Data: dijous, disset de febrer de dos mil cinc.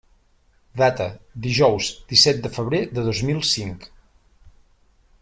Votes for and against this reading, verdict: 3, 0, accepted